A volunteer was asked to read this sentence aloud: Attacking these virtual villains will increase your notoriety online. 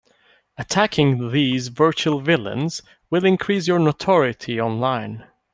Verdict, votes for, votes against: rejected, 1, 2